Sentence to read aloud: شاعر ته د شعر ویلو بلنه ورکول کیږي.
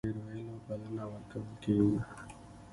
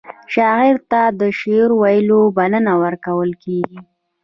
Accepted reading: second